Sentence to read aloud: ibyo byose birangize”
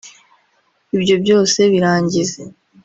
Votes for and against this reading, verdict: 4, 0, accepted